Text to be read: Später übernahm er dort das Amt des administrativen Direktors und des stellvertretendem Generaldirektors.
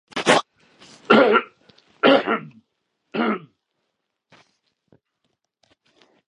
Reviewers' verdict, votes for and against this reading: rejected, 0, 2